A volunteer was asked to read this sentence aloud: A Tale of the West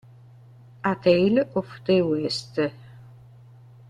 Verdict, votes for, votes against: rejected, 0, 2